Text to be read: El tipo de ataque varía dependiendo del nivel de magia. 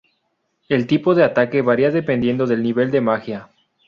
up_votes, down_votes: 2, 0